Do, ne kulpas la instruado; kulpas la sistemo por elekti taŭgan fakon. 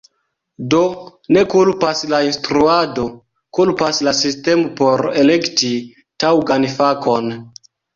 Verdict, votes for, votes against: accepted, 2, 1